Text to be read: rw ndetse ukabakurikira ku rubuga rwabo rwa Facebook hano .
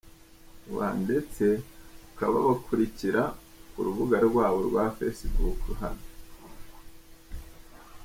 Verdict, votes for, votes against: accepted, 2, 0